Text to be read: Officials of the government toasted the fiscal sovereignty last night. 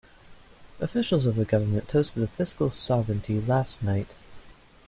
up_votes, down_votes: 2, 0